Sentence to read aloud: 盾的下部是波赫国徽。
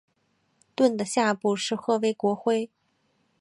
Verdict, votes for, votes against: accepted, 4, 1